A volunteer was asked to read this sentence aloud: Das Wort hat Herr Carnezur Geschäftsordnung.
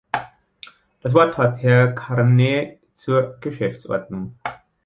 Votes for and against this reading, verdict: 1, 2, rejected